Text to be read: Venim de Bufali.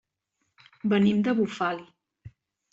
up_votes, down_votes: 5, 1